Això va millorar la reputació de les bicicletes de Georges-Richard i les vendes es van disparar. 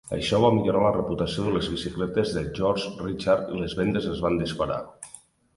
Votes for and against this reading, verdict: 3, 1, accepted